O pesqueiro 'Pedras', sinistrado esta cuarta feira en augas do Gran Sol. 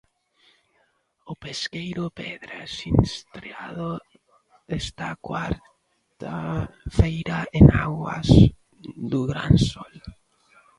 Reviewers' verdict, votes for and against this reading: rejected, 0, 2